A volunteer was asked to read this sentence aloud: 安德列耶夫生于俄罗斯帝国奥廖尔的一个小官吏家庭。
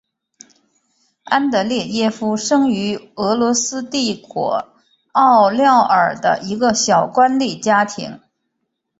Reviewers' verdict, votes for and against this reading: accepted, 2, 0